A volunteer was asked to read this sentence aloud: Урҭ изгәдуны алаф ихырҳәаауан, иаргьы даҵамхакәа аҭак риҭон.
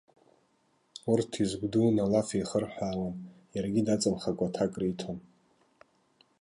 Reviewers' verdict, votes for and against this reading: rejected, 1, 2